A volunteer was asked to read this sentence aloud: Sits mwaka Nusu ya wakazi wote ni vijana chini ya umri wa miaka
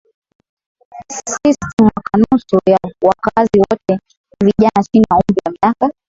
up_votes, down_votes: 0, 2